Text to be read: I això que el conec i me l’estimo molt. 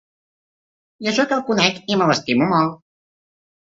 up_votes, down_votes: 3, 0